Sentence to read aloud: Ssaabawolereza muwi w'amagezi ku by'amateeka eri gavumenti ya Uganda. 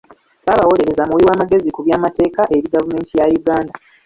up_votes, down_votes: 1, 2